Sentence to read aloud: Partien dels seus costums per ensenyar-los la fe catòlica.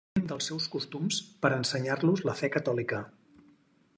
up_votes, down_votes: 0, 4